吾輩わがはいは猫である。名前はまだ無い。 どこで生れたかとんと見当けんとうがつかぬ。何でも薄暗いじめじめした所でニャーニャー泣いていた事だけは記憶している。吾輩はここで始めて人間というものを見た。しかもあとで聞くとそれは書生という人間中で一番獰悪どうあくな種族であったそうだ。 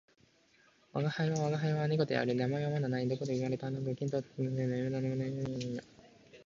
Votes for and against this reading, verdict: 1, 2, rejected